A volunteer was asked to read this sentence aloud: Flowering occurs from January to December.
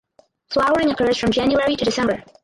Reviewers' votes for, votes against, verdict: 2, 4, rejected